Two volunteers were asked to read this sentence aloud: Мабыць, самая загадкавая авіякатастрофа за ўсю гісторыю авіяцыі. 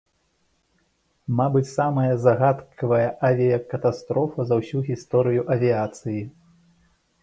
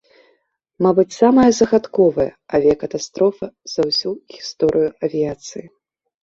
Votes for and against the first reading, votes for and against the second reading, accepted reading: 2, 0, 1, 2, first